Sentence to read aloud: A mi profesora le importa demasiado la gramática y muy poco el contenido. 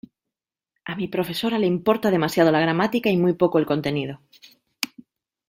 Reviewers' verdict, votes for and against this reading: accepted, 2, 0